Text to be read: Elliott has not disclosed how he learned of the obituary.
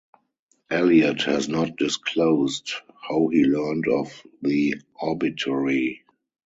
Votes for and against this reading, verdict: 4, 0, accepted